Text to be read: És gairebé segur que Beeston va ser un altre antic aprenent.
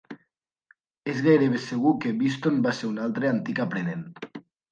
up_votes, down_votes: 2, 0